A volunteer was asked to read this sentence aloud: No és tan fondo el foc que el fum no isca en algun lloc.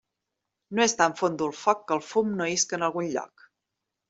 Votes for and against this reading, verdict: 2, 1, accepted